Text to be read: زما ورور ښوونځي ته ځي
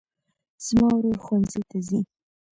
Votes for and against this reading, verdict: 2, 1, accepted